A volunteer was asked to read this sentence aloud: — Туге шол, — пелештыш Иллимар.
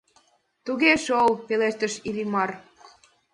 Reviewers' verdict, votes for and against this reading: accepted, 2, 0